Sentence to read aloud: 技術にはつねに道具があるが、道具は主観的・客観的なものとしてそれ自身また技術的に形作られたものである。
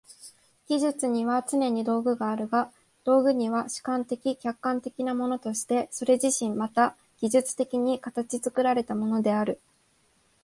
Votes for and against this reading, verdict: 1, 2, rejected